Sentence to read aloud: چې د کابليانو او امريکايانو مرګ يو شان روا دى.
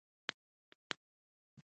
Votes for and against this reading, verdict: 0, 2, rejected